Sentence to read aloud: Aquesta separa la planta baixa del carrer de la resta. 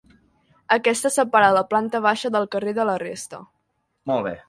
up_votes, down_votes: 0, 2